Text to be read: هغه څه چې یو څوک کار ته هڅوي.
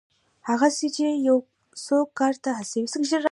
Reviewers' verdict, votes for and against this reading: rejected, 1, 2